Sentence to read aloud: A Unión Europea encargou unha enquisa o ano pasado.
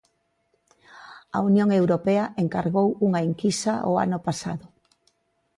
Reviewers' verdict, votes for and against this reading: accepted, 2, 0